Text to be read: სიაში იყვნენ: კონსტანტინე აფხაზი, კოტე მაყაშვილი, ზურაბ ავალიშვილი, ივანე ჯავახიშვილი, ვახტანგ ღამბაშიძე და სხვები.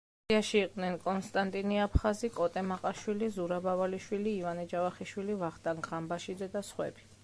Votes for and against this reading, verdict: 1, 2, rejected